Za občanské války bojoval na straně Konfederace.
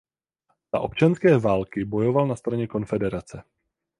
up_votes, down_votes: 4, 0